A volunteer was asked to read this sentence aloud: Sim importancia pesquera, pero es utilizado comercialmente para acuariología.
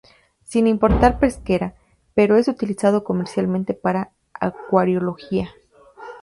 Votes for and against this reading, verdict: 0, 2, rejected